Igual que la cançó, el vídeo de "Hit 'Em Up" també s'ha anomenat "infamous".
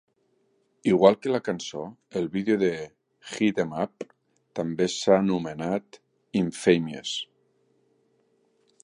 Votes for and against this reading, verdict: 1, 2, rejected